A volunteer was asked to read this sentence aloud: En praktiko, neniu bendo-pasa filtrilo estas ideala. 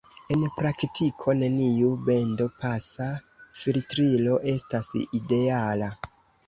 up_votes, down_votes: 2, 0